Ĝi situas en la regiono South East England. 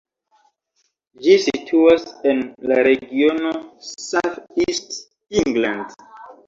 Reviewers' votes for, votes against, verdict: 2, 1, accepted